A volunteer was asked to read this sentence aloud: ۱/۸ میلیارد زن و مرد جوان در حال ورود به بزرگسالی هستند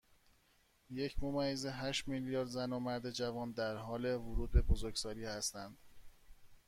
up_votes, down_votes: 0, 2